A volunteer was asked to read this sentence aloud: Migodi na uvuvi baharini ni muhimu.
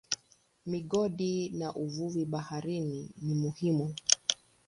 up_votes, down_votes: 1, 2